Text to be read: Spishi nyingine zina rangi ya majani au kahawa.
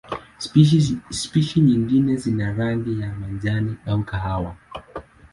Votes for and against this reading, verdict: 11, 4, accepted